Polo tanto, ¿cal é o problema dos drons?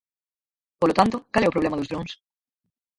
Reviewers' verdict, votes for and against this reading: rejected, 2, 4